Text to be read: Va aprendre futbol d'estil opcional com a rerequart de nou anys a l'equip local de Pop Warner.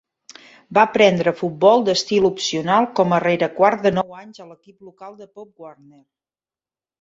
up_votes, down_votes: 0, 2